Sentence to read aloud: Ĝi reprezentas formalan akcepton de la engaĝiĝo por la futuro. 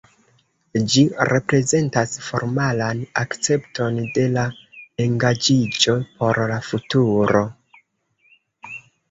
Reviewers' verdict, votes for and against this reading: rejected, 1, 2